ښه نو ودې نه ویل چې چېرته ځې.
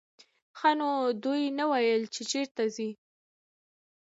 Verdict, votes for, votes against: accepted, 2, 0